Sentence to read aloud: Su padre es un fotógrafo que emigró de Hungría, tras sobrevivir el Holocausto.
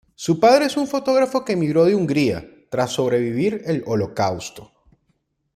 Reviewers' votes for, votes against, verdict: 2, 0, accepted